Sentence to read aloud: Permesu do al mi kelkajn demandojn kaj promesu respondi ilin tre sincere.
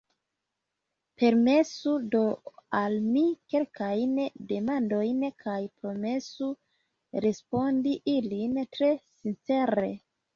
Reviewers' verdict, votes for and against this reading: accepted, 2, 1